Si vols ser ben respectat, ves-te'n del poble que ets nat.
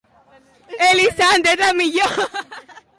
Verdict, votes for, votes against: rejected, 0, 2